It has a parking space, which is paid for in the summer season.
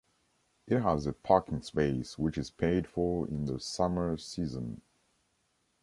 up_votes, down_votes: 2, 0